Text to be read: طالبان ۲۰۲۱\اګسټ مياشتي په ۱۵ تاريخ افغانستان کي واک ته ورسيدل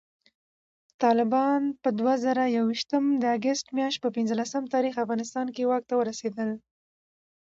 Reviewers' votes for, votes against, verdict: 0, 2, rejected